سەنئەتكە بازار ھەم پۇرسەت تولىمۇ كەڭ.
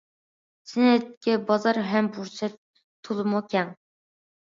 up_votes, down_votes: 2, 0